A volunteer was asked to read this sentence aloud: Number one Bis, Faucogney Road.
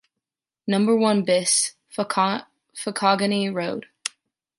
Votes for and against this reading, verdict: 1, 2, rejected